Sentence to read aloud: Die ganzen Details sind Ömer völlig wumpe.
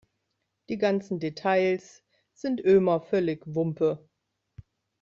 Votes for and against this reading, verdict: 2, 0, accepted